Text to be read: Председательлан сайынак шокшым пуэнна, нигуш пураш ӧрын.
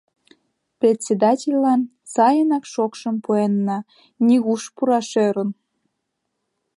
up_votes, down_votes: 2, 0